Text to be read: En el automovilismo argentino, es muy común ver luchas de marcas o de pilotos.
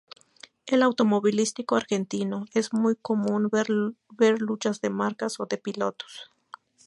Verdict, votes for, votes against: rejected, 0, 4